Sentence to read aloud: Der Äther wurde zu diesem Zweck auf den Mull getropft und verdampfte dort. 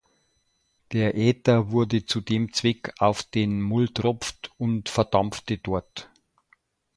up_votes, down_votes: 1, 2